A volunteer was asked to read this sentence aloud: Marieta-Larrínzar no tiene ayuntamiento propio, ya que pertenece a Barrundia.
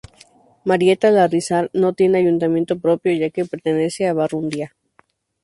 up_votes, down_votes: 0, 2